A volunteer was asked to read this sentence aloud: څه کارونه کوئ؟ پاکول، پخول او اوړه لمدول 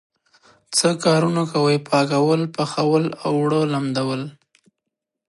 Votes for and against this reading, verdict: 2, 0, accepted